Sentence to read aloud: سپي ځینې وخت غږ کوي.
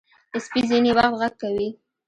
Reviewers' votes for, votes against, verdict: 0, 2, rejected